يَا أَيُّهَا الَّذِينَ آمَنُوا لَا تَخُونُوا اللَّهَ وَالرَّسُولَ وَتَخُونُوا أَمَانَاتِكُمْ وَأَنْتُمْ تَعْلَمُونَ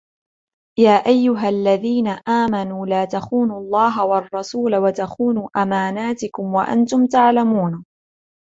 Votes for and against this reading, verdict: 2, 0, accepted